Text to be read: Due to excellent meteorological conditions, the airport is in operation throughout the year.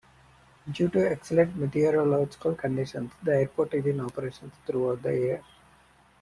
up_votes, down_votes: 2, 0